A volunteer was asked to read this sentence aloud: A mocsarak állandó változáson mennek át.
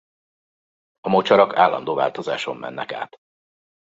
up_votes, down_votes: 2, 0